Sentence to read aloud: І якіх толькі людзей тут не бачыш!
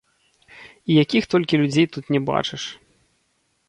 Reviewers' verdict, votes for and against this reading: rejected, 1, 2